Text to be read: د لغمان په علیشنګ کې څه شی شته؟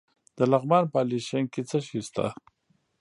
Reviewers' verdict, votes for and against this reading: rejected, 0, 2